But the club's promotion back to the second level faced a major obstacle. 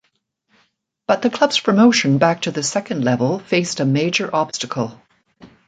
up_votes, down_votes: 2, 0